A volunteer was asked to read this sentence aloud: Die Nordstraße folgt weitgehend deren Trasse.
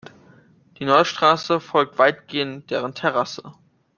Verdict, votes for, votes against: rejected, 1, 2